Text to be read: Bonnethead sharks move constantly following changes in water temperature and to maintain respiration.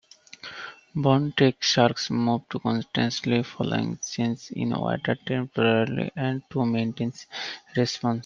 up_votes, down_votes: 0, 2